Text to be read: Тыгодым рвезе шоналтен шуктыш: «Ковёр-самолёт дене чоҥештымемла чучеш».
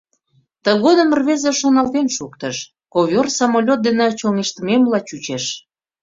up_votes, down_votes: 2, 0